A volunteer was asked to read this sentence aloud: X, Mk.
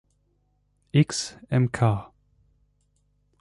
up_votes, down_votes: 2, 0